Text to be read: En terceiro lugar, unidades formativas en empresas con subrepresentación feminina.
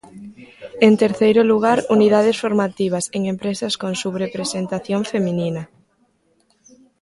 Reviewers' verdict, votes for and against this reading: accepted, 2, 0